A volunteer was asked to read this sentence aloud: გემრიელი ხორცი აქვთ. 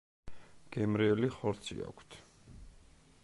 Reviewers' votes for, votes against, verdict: 2, 0, accepted